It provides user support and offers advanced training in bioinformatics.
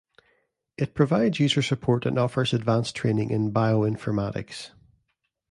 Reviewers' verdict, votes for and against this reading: rejected, 0, 2